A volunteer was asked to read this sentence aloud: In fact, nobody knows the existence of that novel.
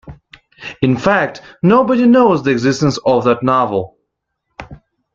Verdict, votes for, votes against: accepted, 2, 0